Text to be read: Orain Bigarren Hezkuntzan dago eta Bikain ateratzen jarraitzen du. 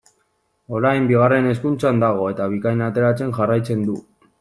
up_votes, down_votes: 2, 0